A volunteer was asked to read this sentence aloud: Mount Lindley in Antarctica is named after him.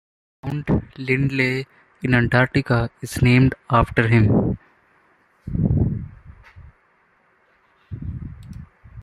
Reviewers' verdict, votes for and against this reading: accepted, 2, 1